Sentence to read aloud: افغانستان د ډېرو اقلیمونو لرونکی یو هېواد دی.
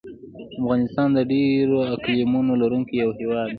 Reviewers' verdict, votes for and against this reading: accepted, 2, 0